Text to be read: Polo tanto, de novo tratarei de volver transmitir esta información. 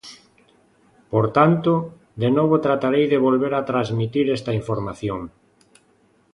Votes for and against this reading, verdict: 0, 2, rejected